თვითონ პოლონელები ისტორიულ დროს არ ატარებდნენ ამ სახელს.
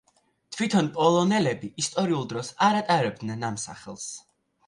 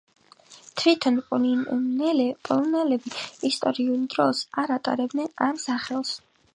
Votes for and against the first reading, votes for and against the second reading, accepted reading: 2, 0, 1, 2, first